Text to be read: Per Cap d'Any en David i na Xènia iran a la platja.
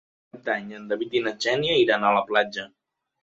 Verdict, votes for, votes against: rejected, 0, 2